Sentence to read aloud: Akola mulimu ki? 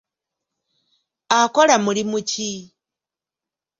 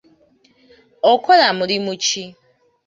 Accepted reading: first